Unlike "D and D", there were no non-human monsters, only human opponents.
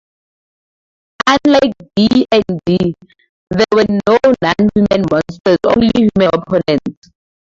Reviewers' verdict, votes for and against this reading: rejected, 0, 2